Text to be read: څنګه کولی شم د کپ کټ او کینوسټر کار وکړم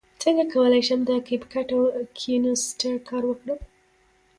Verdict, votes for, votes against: accepted, 2, 1